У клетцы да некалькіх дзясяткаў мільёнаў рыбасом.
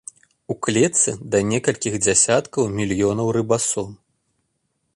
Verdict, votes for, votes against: accepted, 2, 0